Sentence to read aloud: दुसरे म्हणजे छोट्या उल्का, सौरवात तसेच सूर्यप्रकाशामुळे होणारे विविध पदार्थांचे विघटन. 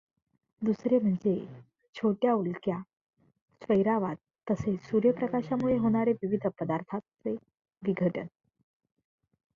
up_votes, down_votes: 1, 2